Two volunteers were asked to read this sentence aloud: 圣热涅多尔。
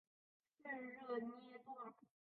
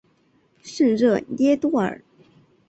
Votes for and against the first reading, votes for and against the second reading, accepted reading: 0, 2, 2, 0, second